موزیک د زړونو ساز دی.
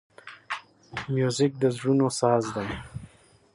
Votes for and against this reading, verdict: 2, 4, rejected